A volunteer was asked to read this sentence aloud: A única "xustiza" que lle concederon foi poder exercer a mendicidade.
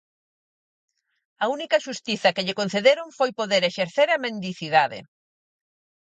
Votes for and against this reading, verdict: 4, 0, accepted